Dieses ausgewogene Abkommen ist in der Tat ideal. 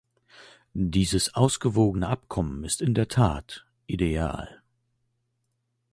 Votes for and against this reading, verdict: 2, 0, accepted